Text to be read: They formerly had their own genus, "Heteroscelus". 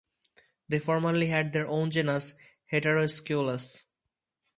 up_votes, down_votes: 4, 0